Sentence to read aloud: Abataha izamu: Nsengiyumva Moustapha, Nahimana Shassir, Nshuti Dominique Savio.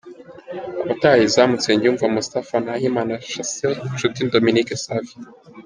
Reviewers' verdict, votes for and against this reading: rejected, 0, 2